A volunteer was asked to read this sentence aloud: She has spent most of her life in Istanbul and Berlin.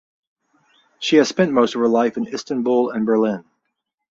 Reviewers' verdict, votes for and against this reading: accepted, 4, 0